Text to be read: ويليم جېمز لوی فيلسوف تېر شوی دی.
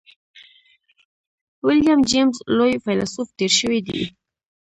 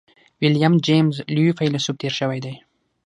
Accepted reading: second